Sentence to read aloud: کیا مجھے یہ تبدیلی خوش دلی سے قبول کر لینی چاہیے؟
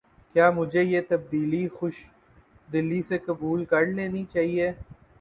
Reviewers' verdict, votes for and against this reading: accepted, 2, 0